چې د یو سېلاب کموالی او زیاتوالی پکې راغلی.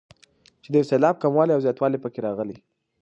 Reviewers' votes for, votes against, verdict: 2, 0, accepted